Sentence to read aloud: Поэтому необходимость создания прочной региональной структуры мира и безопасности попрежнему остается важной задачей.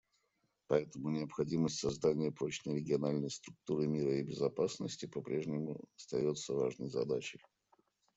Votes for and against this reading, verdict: 2, 0, accepted